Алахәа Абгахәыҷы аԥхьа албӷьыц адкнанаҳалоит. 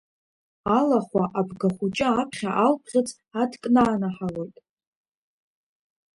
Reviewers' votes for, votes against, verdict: 0, 2, rejected